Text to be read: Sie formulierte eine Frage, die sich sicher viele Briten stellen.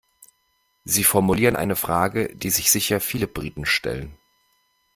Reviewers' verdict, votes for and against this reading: rejected, 1, 2